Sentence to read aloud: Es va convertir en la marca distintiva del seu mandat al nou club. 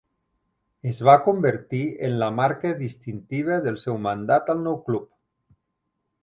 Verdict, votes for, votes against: accepted, 3, 0